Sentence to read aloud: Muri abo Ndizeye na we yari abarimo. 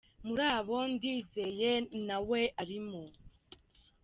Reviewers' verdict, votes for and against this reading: rejected, 1, 2